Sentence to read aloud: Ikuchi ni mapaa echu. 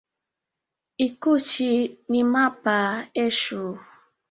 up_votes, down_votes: 0, 2